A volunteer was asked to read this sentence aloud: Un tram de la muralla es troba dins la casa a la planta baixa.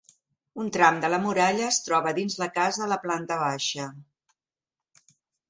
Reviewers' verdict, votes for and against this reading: accepted, 2, 0